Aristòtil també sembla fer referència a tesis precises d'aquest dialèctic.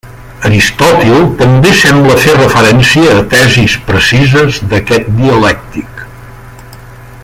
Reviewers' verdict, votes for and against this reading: rejected, 1, 2